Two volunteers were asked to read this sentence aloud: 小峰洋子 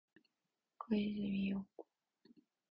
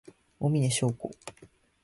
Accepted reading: second